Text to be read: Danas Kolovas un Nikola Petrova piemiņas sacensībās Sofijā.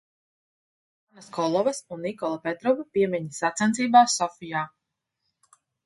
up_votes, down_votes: 0, 2